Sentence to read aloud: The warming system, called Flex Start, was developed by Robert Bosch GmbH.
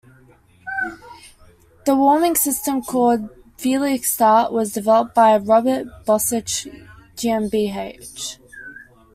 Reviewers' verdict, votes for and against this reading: rejected, 1, 2